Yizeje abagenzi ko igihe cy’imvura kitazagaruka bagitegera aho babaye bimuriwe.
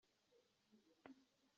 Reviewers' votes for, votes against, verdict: 0, 2, rejected